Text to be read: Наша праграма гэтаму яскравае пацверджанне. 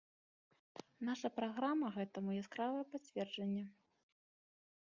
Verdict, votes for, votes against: accepted, 2, 0